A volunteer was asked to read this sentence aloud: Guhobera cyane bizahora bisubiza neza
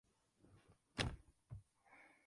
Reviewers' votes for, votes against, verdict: 0, 2, rejected